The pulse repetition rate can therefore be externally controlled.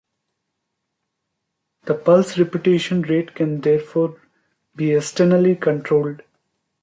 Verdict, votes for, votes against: rejected, 1, 2